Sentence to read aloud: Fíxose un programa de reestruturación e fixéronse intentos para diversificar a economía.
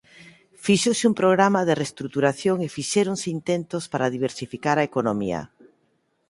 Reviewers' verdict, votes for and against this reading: accepted, 2, 1